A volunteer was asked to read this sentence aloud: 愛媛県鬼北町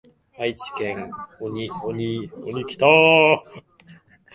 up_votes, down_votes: 3, 11